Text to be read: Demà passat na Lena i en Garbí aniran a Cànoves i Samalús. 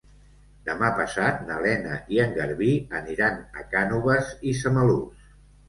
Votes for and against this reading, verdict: 2, 0, accepted